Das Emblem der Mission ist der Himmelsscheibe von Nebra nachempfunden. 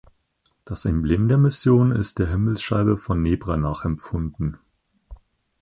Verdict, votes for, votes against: accepted, 4, 0